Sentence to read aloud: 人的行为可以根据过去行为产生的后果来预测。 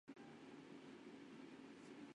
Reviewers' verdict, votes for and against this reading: rejected, 0, 3